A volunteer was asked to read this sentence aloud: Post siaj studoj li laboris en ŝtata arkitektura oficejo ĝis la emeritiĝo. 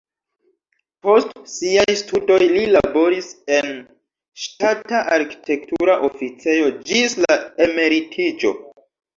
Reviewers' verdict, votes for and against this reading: accepted, 2, 0